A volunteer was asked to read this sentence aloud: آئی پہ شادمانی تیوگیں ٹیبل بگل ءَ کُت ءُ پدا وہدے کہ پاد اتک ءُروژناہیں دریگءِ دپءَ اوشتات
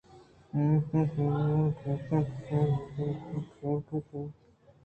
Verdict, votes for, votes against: accepted, 2, 0